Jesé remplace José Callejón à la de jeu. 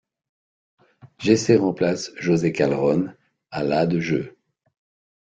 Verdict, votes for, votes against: accepted, 3, 1